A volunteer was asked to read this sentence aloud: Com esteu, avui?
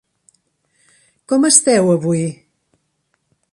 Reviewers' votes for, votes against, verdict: 3, 0, accepted